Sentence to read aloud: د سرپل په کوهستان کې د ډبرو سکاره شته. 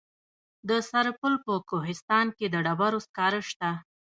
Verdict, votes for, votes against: accepted, 2, 0